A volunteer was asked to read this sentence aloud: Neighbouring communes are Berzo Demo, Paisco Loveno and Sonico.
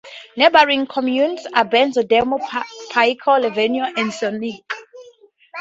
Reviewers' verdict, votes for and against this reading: accepted, 12, 10